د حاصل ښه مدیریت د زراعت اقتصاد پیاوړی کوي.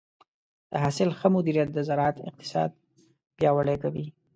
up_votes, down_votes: 2, 0